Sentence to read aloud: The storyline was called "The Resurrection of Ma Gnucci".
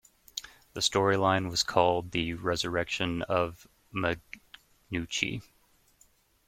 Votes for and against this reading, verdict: 0, 3, rejected